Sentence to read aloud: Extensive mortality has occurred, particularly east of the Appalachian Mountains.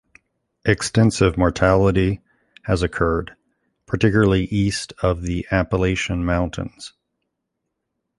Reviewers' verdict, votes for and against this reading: accepted, 2, 0